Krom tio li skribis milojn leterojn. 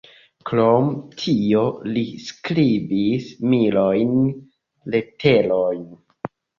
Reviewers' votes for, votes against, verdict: 1, 2, rejected